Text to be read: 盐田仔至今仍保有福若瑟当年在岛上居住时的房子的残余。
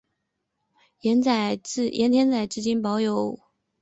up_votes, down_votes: 0, 3